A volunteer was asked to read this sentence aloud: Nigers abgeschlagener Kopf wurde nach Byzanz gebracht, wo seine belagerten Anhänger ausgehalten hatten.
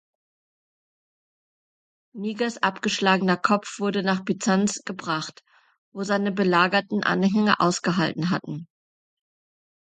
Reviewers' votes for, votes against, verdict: 2, 0, accepted